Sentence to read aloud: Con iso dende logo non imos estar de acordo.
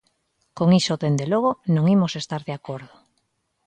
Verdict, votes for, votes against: accepted, 2, 0